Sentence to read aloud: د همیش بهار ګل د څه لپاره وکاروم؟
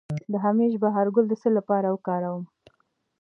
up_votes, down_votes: 2, 0